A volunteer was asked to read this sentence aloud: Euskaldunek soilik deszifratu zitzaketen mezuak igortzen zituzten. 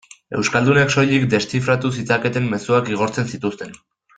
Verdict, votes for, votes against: accepted, 2, 0